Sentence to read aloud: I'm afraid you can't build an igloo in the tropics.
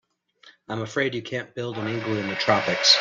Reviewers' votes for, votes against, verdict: 2, 0, accepted